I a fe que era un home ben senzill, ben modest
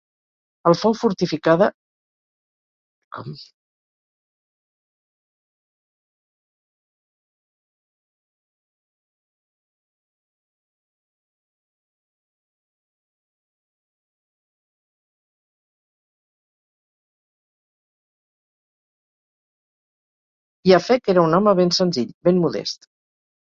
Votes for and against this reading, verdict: 0, 4, rejected